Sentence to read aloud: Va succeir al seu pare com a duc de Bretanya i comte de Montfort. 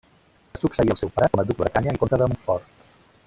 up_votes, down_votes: 0, 2